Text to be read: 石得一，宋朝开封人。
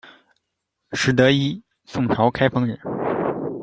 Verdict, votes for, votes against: accepted, 2, 0